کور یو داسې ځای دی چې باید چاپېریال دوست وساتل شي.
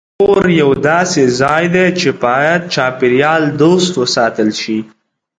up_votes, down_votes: 2, 0